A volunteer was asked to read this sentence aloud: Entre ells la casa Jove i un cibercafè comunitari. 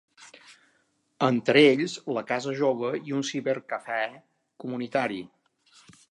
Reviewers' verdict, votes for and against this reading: accepted, 2, 0